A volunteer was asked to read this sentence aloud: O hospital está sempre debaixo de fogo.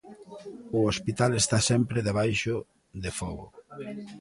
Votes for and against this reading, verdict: 1, 2, rejected